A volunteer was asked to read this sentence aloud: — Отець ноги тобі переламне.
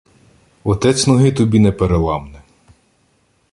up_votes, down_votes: 0, 2